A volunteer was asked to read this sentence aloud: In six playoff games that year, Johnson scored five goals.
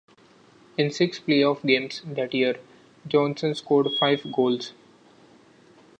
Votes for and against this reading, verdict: 2, 0, accepted